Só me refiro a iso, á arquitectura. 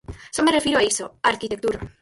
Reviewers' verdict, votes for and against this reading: rejected, 2, 4